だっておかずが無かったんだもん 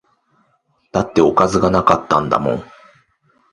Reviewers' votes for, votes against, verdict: 2, 0, accepted